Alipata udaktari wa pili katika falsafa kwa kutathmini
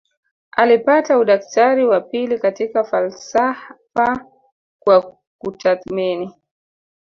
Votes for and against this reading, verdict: 1, 2, rejected